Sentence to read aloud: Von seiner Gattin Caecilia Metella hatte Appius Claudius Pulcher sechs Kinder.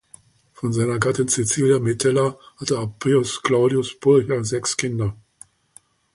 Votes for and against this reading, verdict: 2, 0, accepted